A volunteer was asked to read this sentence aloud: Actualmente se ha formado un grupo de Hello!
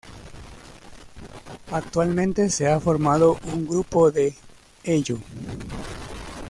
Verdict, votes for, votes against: accepted, 2, 1